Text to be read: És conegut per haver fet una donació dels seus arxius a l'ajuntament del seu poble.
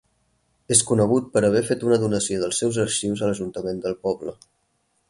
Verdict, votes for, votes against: rejected, 0, 4